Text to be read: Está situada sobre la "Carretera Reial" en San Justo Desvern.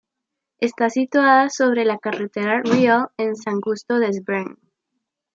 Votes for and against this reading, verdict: 1, 2, rejected